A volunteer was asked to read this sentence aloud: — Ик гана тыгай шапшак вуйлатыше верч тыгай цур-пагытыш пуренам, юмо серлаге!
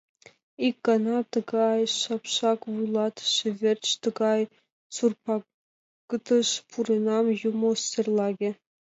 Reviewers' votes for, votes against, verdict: 1, 2, rejected